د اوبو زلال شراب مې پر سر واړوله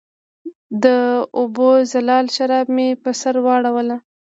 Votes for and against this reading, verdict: 2, 1, accepted